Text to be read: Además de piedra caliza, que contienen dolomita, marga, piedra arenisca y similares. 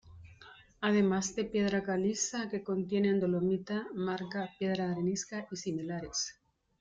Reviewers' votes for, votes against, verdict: 2, 0, accepted